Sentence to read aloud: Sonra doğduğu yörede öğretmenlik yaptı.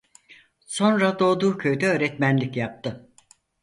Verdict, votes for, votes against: rejected, 0, 4